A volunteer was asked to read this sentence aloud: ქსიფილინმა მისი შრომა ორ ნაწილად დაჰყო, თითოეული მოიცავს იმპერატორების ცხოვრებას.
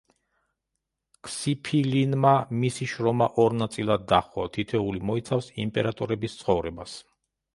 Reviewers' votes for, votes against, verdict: 2, 0, accepted